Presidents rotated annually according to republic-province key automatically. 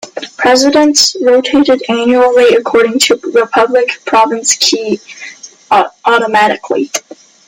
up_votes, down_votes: 0, 2